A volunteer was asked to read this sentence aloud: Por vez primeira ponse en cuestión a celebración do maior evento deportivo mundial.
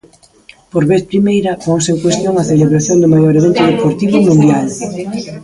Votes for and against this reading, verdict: 0, 2, rejected